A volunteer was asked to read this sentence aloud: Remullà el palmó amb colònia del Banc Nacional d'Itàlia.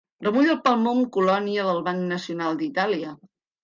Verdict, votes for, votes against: rejected, 2, 3